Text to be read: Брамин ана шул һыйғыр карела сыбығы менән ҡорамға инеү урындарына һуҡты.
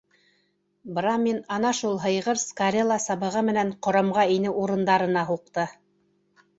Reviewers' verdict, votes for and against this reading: rejected, 1, 2